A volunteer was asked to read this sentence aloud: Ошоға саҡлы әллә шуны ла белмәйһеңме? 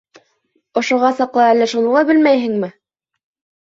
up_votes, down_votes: 2, 0